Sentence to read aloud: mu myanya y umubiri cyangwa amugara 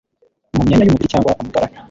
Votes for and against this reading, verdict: 1, 2, rejected